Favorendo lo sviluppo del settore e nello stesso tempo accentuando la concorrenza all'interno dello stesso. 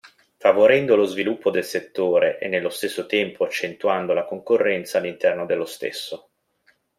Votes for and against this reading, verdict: 2, 0, accepted